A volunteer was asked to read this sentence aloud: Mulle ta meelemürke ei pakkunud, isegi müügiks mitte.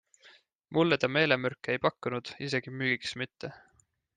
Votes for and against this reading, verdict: 2, 0, accepted